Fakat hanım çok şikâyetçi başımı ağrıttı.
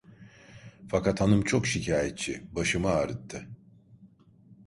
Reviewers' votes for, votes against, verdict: 2, 0, accepted